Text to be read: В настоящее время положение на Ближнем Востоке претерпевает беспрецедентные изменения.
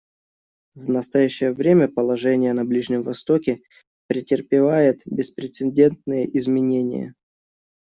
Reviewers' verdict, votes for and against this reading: accepted, 2, 0